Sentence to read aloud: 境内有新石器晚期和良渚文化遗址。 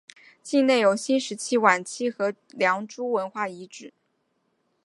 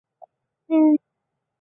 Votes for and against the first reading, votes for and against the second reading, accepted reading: 2, 0, 0, 2, first